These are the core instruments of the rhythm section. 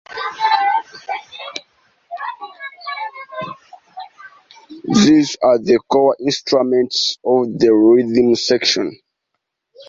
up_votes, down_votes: 1, 2